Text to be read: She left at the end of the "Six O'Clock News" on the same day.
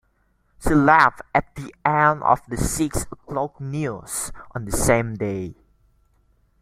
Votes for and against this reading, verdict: 2, 1, accepted